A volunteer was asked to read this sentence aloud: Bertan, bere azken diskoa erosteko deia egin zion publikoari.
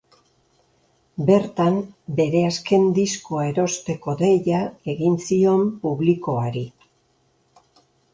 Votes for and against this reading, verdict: 1, 2, rejected